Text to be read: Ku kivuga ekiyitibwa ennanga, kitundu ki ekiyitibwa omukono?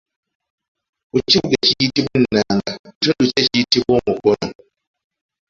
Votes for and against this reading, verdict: 1, 2, rejected